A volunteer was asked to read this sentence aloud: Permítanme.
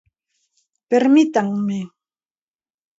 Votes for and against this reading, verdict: 1, 2, rejected